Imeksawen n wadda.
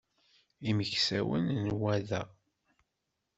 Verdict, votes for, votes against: rejected, 1, 2